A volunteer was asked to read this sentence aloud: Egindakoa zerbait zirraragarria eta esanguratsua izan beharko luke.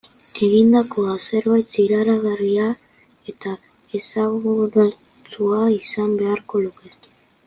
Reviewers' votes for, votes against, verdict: 1, 2, rejected